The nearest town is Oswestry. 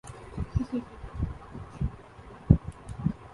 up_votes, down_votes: 0, 2